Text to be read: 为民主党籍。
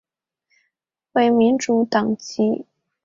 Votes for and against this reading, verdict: 6, 0, accepted